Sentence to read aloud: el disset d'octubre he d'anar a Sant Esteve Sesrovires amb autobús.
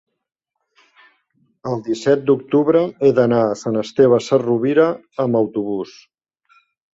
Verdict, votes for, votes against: rejected, 0, 2